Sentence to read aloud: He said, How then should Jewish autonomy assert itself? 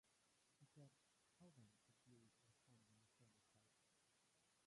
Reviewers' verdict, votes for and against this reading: rejected, 0, 3